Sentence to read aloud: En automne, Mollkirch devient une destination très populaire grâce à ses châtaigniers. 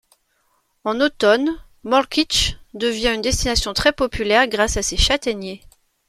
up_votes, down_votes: 2, 0